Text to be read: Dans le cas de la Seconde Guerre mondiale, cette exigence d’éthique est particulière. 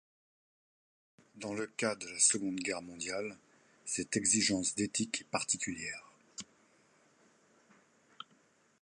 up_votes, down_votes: 2, 0